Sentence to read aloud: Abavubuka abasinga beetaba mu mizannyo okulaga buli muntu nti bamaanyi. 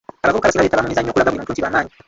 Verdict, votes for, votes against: rejected, 0, 2